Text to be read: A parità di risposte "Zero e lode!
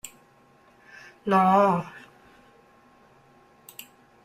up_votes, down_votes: 0, 2